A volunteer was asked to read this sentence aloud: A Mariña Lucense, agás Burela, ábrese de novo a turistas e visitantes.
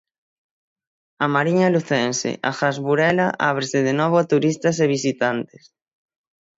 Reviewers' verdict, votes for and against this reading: accepted, 6, 0